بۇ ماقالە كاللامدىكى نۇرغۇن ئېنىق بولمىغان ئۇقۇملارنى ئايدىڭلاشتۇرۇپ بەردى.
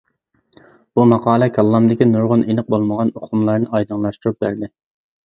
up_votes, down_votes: 2, 0